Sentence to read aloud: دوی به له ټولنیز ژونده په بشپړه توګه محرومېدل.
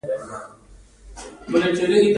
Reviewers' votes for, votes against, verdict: 0, 2, rejected